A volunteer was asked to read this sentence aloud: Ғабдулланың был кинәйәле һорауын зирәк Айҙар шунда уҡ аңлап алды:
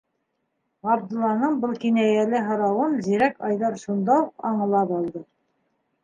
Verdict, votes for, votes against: rejected, 1, 2